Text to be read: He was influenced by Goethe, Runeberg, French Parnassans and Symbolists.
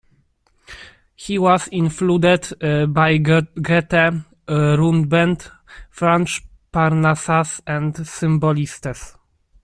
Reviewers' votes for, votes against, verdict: 0, 2, rejected